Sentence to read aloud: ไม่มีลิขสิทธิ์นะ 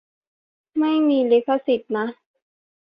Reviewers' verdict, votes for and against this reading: accepted, 2, 0